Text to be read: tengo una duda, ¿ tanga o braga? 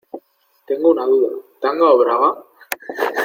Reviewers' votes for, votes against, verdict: 0, 2, rejected